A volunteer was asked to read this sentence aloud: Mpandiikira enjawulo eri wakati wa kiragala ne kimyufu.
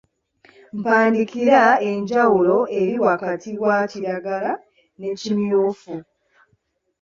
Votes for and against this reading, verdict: 0, 2, rejected